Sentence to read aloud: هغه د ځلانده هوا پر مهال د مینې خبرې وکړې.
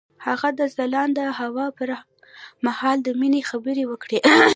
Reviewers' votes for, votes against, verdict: 1, 2, rejected